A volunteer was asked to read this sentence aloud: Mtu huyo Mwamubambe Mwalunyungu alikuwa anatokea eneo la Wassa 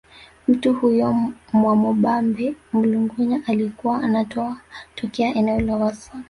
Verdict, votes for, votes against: rejected, 1, 2